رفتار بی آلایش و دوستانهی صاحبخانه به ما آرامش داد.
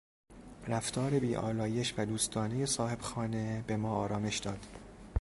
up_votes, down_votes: 2, 0